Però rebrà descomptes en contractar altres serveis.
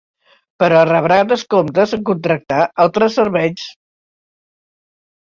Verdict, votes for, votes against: accepted, 2, 0